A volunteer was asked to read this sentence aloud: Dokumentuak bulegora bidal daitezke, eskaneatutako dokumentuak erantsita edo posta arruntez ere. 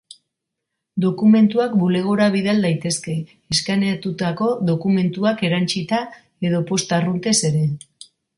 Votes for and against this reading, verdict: 3, 0, accepted